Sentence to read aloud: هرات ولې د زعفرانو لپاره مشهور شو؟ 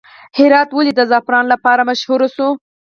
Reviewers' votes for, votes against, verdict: 2, 4, rejected